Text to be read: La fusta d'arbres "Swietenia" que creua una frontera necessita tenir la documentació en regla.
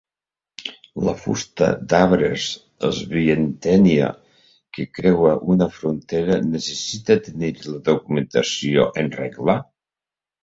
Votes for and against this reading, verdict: 0, 2, rejected